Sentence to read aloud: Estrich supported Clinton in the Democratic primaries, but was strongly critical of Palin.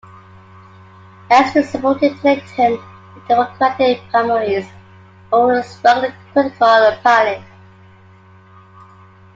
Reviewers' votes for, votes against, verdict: 2, 1, accepted